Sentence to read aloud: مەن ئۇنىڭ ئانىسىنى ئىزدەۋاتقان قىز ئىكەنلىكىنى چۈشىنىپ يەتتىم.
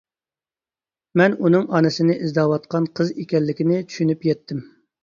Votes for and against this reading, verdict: 2, 0, accepted